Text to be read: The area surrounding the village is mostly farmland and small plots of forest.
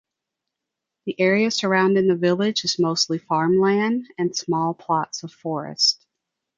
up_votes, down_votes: 3, 0